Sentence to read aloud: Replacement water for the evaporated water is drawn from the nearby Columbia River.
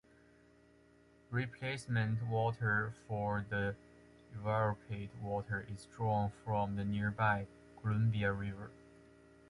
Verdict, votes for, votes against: rejected, 0, 2